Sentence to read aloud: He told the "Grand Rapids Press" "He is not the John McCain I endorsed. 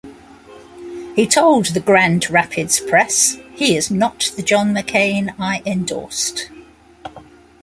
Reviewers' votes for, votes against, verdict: 2, 0, accepted